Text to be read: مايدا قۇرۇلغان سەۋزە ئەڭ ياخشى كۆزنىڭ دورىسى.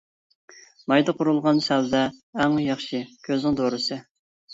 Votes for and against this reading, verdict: 2, 1, accepted